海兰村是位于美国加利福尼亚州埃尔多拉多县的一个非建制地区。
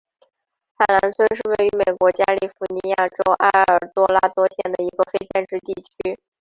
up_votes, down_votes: 1, 2